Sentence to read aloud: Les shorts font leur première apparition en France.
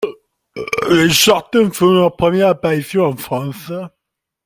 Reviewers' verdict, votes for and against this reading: rejected, 0, 2